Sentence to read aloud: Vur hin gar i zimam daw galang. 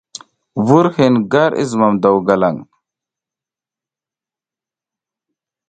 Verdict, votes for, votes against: accepted, 2, 0